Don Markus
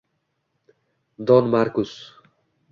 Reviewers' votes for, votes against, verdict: 2, 0, accepted